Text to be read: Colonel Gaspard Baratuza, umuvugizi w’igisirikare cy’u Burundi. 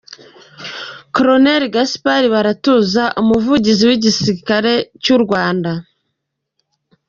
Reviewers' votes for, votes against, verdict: 0, 2, rejected